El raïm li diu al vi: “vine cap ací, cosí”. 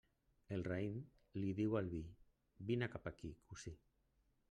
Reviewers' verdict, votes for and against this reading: rejected, 1, 2